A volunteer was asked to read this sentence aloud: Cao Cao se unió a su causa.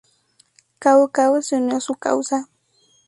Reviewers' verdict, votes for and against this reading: accepted, 2, 0